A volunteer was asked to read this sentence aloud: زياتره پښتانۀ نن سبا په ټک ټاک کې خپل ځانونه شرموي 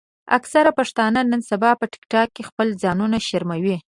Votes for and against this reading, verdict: 1, 2, rejected